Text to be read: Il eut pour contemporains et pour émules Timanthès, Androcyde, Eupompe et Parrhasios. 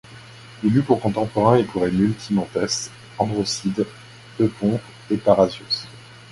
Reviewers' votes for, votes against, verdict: 2, 0, accepted